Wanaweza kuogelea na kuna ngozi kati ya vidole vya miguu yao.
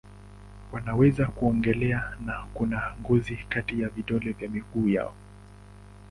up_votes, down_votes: 2, 0